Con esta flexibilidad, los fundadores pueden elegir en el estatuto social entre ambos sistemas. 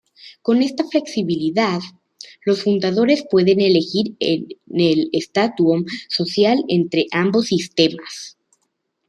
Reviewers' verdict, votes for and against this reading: rejected, 1, 2